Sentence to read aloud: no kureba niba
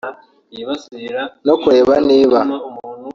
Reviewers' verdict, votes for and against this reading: rejected, 1, 2